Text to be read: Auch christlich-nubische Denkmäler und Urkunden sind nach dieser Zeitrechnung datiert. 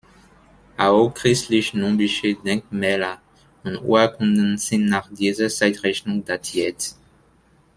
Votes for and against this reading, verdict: 2, 1, accepted